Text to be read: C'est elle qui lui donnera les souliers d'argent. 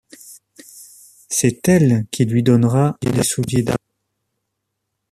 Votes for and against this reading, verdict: 0, 2, rejected